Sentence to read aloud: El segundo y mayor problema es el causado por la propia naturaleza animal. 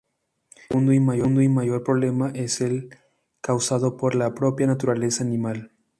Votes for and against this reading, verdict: 0, 2, rejected